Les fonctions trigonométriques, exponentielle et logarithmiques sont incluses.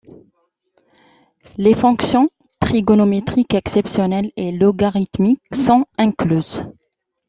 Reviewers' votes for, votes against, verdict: 0, 2, rejected